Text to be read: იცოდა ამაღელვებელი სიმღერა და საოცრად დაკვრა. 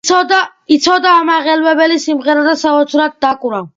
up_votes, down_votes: 2, 0